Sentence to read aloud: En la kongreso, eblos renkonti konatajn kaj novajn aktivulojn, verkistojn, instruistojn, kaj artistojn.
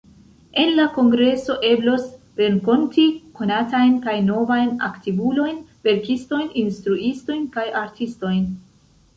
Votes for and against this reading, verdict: 3, 0, accepted